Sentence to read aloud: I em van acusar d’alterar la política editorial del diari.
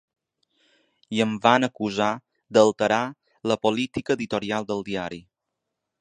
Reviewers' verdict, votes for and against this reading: accepted, 3, 0